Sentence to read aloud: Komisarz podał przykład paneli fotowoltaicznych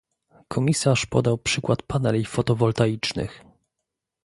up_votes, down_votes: 2, 0